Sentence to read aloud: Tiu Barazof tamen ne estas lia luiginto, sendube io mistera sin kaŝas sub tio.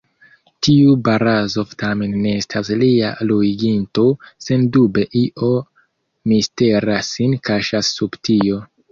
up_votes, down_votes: 2, 0